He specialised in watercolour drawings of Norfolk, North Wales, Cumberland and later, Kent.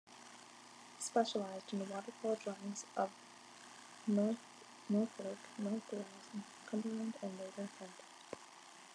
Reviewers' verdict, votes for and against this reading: rejected, 0, 2